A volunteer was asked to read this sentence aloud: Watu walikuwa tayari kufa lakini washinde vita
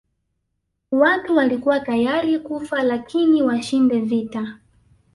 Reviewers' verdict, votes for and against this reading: rejected, 1, 2